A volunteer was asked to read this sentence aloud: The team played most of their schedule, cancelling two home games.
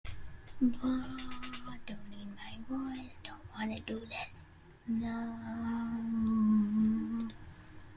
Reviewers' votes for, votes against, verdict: 0, 2, rejected